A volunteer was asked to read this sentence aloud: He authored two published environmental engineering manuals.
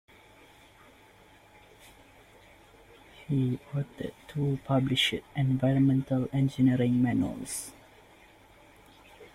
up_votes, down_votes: 1, 2